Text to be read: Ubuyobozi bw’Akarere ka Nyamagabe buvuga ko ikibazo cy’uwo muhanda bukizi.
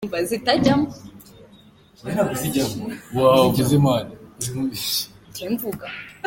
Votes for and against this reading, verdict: 0, 2, rejected